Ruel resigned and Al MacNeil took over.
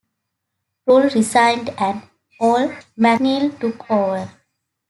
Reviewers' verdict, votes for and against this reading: rejected, 1, 2